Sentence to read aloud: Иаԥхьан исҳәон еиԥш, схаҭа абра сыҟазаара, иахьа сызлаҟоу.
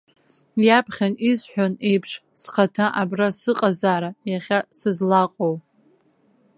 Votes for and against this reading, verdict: 0, 2, rejected